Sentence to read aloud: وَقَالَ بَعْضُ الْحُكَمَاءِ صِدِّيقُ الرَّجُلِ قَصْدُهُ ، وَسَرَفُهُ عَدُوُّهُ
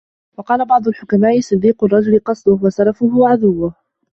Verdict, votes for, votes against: rejected, 1, 2